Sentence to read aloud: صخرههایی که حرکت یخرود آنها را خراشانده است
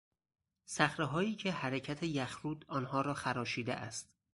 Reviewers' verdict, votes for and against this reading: rejected, 0, 4